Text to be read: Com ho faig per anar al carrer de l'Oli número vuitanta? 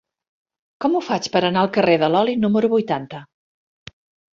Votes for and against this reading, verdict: 3, 0, accepted